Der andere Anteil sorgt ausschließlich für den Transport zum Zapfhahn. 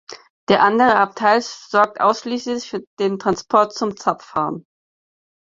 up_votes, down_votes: 0, 4